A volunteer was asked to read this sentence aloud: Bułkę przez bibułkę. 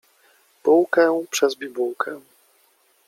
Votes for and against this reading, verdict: 1, 2, rejected